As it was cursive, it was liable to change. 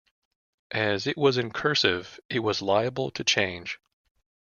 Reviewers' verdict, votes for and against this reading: rejected, 0, 2